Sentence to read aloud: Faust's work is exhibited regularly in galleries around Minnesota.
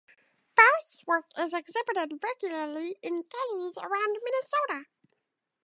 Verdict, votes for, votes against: rejected, 2, 2